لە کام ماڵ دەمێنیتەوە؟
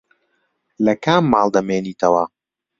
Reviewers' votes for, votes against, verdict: 2, 0, accepted